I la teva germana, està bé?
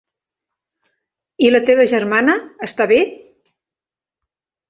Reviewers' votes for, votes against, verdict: 3, 0, accepted